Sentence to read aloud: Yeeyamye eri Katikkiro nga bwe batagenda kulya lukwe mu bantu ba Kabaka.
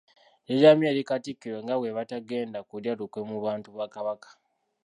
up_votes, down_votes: 1, 2